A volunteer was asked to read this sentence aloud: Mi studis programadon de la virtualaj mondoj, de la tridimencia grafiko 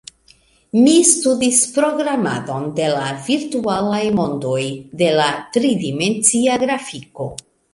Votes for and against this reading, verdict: 2, 0, accepted